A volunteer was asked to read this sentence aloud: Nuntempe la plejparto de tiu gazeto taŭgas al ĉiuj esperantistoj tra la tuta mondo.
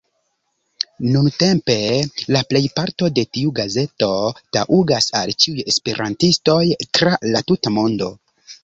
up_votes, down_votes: 1, 2